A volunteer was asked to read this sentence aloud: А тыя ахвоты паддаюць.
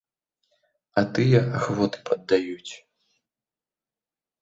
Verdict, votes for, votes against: accepted, 2, 0